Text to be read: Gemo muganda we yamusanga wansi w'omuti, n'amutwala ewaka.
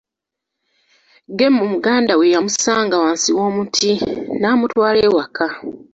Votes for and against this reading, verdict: 2, 0, accepted